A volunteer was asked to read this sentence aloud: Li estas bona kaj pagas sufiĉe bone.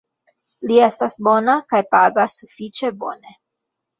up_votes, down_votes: 3, 1